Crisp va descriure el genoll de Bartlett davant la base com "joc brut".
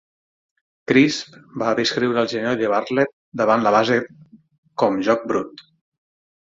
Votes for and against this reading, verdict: 6, 9, rejected